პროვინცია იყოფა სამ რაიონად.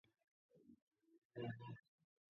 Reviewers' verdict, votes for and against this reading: rejected, 0, 2